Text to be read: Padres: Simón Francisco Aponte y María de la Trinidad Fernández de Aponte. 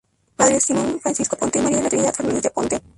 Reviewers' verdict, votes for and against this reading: rejected, 0, 2